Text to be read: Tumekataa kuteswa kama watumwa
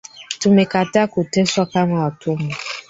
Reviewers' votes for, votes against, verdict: 2, 3, rejected